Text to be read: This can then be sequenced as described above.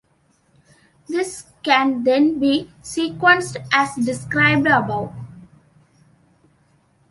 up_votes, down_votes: 3, 0